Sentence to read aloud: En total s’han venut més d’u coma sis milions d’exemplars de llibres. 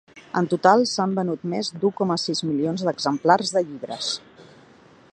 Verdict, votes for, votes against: accepted, 3, 0